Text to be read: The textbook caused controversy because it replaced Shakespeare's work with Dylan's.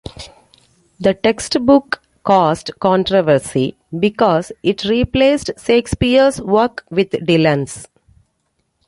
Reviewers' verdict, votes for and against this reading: accepted, 2, 0